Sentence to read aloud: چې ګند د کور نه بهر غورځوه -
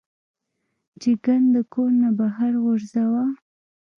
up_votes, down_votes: 0, 2